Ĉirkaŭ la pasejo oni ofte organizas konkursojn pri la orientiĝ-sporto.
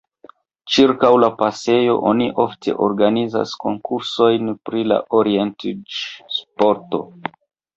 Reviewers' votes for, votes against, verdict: 1, 2, rejected